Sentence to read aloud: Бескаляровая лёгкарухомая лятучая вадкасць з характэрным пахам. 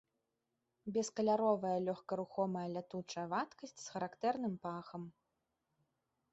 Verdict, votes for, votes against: accepted, 2, 0